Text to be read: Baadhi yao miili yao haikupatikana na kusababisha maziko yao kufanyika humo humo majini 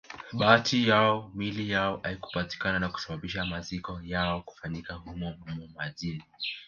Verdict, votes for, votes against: rejected, 1, 2